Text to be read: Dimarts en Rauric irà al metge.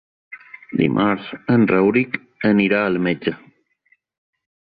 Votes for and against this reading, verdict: 1, 2, rejected